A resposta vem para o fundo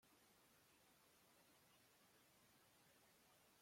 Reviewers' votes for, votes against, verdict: 0, 2, rejected